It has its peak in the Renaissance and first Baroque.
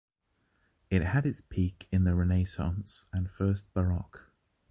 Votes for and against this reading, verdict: 0, 2, rejected